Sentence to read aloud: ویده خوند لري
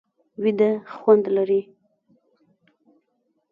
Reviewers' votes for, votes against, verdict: 0, 2, rejected